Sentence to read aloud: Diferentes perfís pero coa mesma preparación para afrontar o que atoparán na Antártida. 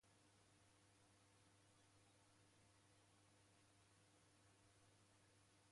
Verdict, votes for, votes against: rejected, 0, 2